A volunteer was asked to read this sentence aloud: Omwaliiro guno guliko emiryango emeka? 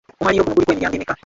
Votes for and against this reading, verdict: 0, 2, rejected